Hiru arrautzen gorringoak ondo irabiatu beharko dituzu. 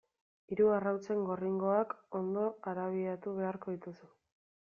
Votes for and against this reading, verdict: 0, 2, rejected